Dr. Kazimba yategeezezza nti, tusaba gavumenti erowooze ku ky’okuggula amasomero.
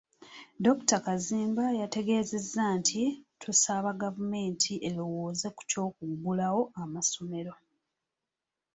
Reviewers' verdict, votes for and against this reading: accepted, 2, 0